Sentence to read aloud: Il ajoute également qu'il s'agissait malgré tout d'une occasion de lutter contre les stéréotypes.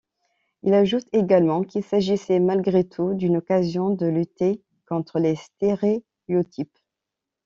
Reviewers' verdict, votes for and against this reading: rejected, 1, 2